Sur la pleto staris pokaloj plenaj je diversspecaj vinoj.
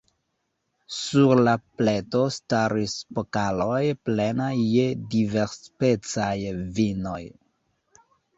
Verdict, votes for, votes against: rejected, 0, 2